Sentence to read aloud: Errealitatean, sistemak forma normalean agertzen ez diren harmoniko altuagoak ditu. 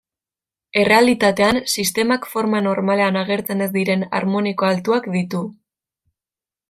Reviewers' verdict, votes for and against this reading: rejected, 1, 2